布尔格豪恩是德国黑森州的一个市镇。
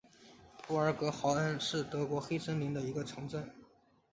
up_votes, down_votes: 1, 2